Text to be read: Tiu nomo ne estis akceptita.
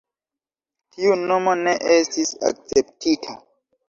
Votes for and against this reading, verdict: 2, 0, accepted